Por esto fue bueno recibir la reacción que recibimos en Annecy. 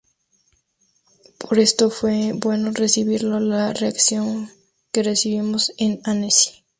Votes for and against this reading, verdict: 0, 2, rejected